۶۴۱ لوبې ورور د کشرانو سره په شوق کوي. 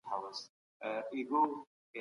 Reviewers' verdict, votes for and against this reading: rejected, 0, 2